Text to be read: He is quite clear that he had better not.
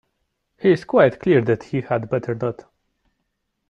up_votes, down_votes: 2, 0